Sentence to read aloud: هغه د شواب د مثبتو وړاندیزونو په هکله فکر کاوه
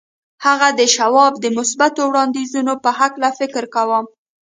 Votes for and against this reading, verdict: 0, 2, rejected